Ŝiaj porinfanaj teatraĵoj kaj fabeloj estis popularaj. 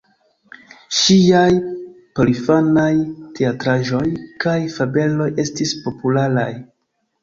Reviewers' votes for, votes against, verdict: 1, 2, rejected